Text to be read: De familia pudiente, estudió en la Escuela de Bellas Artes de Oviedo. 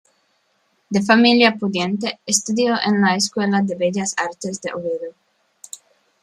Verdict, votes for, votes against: accepted, 2, 1